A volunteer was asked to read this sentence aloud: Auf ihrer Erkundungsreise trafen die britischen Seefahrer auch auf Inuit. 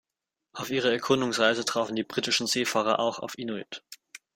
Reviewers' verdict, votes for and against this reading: accepted, 2, 0